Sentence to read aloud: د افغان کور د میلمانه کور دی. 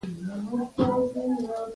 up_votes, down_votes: 0, 2